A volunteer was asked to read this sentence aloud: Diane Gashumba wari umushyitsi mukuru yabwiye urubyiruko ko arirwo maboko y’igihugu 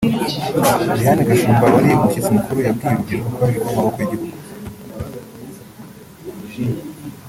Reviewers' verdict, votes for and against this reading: rejected, 1, 2